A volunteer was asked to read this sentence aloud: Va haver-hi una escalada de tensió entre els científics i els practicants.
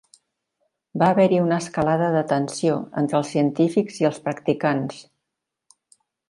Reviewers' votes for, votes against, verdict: 3, 0, accepted